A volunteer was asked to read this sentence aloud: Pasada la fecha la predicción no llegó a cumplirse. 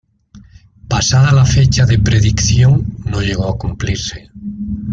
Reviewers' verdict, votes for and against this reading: rejected, 0, 2